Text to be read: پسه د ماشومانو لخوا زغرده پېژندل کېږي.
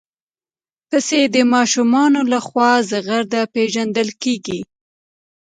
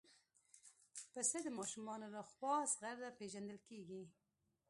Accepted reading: first